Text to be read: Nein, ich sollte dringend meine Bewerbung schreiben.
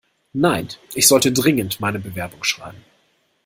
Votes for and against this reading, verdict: 1, 2, rejected